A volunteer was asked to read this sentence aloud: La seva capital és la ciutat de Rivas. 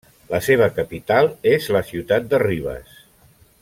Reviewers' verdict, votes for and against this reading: accepted, 2, 0